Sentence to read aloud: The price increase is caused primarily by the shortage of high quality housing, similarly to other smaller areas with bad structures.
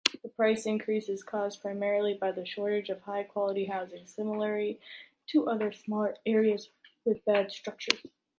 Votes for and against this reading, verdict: 3, 1, accepted